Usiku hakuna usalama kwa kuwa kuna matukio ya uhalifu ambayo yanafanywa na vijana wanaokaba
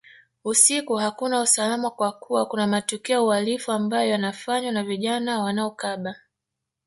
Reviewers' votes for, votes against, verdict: 3, 0, accepted